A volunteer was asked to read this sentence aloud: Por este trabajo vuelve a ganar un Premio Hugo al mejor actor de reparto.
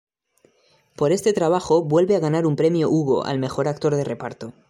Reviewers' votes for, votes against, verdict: 2, 0, accepted